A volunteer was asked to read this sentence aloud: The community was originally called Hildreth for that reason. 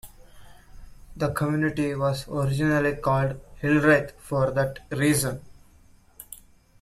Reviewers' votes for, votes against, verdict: 2, 0, accepted